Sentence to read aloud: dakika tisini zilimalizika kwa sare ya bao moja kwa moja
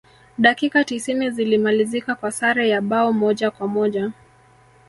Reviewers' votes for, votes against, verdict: 1, 2, rejected